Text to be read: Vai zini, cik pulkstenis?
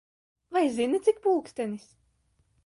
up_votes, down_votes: 2, 0